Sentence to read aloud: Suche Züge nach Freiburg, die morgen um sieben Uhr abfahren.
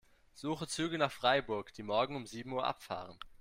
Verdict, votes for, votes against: accepted, 2, 0